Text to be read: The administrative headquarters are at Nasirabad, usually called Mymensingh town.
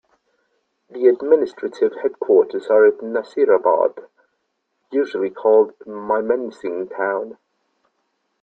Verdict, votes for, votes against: rejected, 1, 2